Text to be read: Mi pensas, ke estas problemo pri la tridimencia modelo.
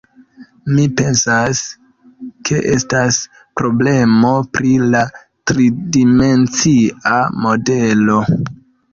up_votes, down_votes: 2, 0